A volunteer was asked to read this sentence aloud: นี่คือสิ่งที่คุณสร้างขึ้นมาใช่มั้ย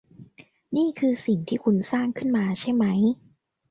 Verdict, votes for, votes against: accepted, 2, 0